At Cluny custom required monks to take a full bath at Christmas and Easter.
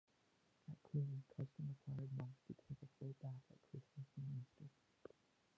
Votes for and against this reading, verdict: 0, 2, rejected